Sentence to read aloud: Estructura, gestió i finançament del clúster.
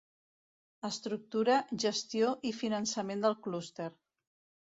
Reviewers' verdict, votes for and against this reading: accepted, 2, 0